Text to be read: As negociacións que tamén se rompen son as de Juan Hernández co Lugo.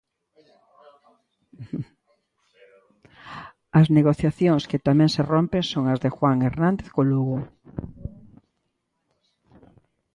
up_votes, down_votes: 2, 0